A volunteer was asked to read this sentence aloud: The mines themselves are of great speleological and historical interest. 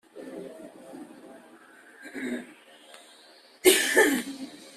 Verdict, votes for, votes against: rejected, 0, 2